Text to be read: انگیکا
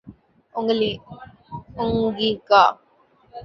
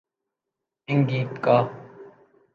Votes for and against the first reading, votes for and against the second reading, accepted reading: 1, 2, 2, 0, second